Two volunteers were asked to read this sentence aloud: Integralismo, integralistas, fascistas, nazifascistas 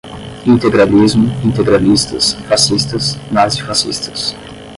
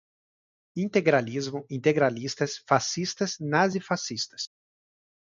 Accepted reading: second